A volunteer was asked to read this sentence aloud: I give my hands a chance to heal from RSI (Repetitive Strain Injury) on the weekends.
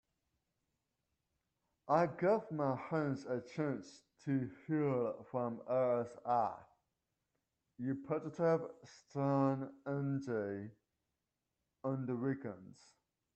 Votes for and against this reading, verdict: 2, 0, accepted